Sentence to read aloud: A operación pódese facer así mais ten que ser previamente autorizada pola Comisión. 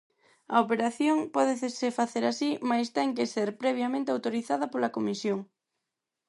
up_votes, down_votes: 0, 4